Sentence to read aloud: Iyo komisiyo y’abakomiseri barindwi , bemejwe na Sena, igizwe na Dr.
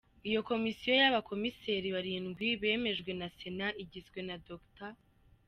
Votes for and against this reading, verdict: 2, 0, accepted